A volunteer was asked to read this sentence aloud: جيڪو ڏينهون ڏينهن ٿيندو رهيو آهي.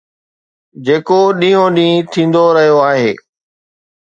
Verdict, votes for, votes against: accepted, 2, 0